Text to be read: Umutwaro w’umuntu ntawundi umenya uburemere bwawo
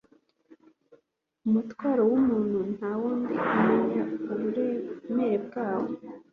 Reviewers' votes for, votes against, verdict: 2, 0, accepted